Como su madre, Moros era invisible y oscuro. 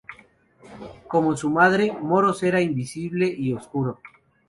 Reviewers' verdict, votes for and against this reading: accepted, 2, 0